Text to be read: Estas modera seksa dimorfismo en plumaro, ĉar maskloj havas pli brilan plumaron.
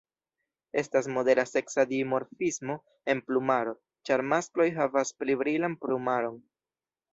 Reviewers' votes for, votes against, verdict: 1, 2, rejected